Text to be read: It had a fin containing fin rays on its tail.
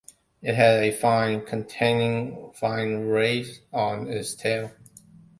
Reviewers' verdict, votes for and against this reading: rejected, 1, 2